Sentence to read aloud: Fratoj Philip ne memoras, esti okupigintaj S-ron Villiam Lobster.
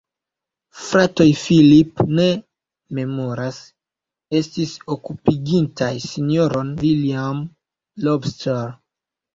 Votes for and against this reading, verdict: 1, 2, rejected